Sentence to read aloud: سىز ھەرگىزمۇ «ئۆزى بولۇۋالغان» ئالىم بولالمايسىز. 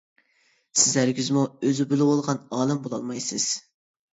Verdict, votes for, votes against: rejected, 1, 2